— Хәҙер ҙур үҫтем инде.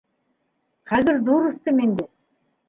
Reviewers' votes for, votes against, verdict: 2, 0, accepted